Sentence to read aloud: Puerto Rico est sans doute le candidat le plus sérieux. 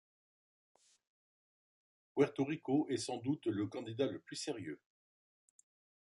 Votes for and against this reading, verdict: 2, 1, accepted